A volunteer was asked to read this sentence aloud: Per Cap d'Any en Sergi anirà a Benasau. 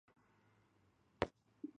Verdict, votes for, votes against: rejected, 0, 2